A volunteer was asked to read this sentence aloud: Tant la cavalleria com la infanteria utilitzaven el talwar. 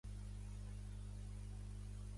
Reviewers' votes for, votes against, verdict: 1, 2, rejected